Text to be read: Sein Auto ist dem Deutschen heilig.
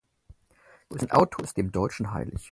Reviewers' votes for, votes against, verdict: 4, 0, accepted